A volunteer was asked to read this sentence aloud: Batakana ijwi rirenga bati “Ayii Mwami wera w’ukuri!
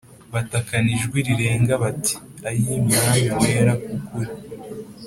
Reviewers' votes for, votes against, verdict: 2, 0, accepted